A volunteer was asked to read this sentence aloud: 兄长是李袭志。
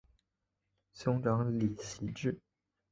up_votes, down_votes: 1, 2